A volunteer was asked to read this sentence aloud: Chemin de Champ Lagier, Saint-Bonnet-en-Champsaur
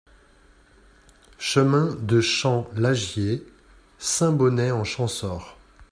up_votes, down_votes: 2, 0